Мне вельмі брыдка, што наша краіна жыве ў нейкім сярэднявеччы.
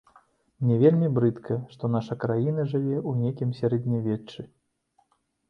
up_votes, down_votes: 2, 0